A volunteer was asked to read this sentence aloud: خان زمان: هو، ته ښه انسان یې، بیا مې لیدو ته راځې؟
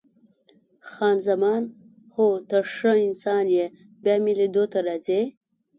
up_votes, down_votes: 2, 0